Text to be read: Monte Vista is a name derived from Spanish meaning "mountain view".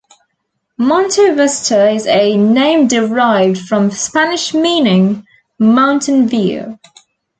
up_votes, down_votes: 2, 0